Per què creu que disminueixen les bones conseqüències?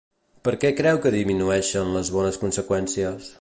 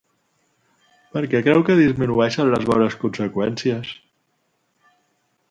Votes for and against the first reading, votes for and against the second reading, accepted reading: 0, 2, 2, 0, second